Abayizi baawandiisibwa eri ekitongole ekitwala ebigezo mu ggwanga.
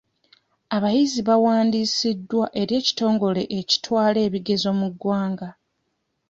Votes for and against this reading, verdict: 0, 2, rejected